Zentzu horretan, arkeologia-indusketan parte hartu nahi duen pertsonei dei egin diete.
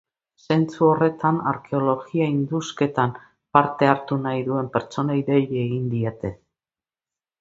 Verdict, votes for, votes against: accepted, 4, 0